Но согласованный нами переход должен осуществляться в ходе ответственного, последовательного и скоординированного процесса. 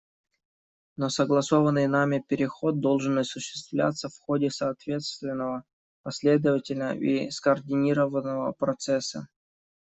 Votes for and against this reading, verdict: 0, 2, rejected